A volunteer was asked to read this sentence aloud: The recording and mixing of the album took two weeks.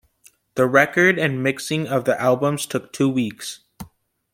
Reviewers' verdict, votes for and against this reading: rejected, 0, 2